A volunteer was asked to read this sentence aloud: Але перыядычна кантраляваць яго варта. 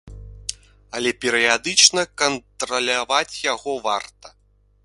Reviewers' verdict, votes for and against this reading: accepted, 2, 0